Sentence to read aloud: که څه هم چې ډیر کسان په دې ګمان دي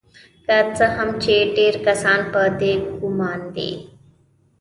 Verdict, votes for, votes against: accepted, 2, 1